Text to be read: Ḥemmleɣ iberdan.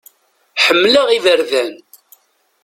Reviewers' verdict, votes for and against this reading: accepted, 2, 0